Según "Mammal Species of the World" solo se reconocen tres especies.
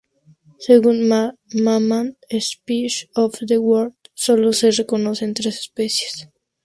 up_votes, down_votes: 0, 2